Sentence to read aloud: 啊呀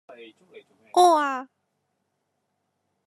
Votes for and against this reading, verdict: 0, 2, rejected